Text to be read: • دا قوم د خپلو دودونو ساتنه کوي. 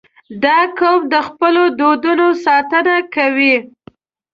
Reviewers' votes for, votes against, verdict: 0, 2, rejected